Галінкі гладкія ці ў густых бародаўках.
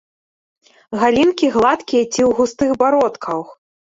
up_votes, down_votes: 1, 2